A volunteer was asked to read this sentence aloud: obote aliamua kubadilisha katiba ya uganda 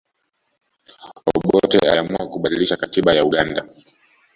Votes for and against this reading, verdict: 1, 2, rejected